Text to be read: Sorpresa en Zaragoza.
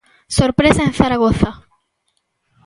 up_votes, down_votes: 2, 0